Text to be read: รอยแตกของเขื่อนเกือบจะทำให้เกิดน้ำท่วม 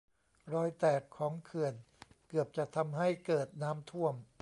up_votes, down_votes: 1, 2